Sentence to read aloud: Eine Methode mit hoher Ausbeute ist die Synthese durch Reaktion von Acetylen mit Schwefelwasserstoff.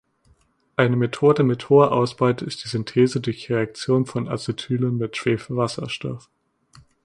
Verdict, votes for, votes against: rejected, 1, 2